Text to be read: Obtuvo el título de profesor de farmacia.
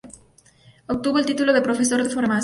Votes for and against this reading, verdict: 2, 2, rejected